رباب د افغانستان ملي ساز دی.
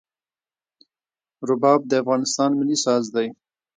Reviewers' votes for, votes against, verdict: 1, 2, rejected